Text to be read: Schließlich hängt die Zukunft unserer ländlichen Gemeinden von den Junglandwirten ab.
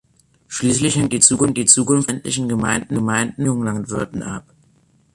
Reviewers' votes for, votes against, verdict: 0, 2, rejected